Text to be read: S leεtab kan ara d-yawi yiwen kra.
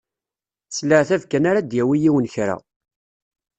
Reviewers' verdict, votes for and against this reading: accepted, 2, 0